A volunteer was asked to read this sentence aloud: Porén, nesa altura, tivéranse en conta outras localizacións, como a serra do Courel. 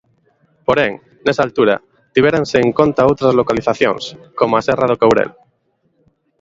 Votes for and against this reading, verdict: 2, 0, accepted